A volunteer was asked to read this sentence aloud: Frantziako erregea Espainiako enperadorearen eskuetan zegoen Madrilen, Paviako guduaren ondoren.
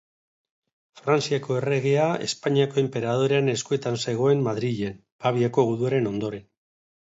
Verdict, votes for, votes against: accepted, 2, 0